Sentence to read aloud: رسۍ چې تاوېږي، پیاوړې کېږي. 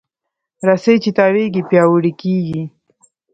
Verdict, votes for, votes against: rejected, 1, 2